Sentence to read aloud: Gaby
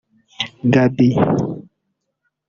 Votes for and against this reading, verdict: 1, 2, rejected